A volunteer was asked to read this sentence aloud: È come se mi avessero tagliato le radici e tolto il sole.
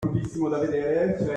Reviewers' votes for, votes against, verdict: 0, 2, rejected